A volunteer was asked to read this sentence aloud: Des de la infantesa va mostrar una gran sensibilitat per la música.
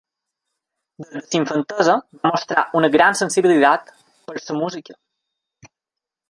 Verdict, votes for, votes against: rejected, 1, 2